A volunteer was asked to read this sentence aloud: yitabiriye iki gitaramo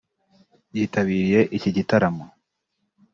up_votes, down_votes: 2, 0